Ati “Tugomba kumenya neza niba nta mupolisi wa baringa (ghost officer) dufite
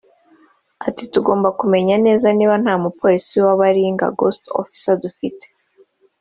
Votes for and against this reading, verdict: 2, 0, accepted